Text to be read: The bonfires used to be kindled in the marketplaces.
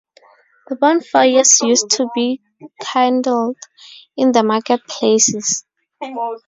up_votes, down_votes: 0, 2